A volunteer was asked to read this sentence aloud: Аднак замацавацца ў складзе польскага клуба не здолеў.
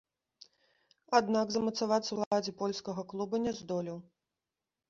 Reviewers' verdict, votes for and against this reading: rejected, 0, 2